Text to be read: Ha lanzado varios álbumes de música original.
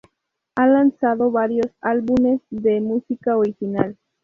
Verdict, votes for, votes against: rejected, 0, 2